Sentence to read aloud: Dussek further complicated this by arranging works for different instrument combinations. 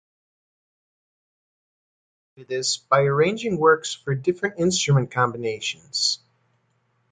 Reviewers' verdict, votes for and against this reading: rejected, 0, 2